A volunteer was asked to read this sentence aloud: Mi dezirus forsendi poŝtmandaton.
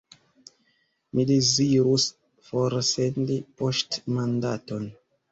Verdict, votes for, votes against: rejected, 1, 2